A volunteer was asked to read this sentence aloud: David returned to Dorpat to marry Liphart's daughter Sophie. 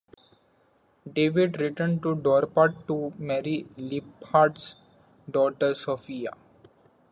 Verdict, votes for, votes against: rejected, 0, 2